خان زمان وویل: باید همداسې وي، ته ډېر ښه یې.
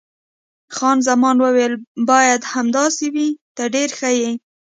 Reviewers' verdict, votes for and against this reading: accepted, 2, 0